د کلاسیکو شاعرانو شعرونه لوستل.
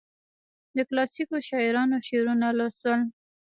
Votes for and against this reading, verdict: 2, 0, accepted